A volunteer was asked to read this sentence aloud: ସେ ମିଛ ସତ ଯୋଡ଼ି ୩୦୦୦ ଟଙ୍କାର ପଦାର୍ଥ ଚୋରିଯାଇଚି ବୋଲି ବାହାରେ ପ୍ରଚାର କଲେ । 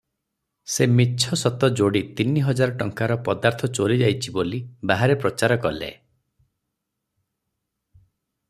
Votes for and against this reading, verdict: 0, 2, rejected